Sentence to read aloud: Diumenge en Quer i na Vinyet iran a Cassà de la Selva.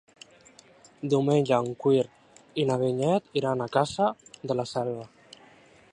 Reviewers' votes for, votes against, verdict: 0, 2, rejected